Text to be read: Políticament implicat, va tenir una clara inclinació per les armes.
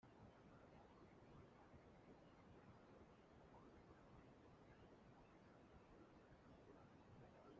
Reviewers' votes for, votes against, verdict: 0, 2, rejected